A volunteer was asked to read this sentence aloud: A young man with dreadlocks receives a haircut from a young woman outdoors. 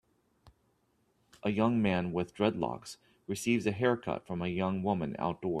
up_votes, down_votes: 1, 2